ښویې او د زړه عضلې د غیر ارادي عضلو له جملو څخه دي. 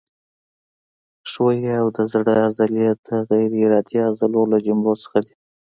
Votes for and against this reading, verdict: 2, 1, accepted